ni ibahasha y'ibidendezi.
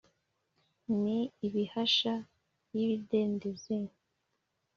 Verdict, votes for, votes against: accepted, 2, 0